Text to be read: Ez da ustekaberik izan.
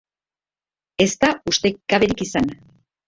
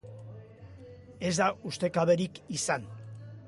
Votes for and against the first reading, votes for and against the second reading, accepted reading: 0, 3, 2, 0, second